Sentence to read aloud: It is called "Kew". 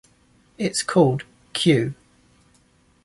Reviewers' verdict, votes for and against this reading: accepted, 2, 0